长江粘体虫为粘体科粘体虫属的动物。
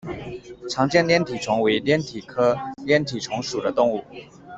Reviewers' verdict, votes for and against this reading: rejected, 1, 2